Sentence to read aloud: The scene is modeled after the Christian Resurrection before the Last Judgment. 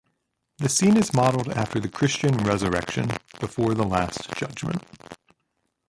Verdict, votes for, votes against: rejected, 1, 2